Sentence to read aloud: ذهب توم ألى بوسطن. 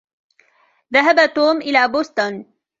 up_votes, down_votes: 2, 0